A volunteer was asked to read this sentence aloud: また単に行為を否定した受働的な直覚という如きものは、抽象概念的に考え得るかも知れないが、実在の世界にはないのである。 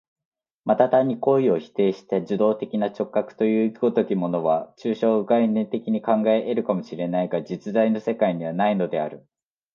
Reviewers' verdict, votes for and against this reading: accepted, 2, 0